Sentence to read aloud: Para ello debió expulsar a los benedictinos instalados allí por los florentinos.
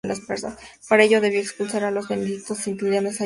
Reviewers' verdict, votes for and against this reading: rejected, 0, 2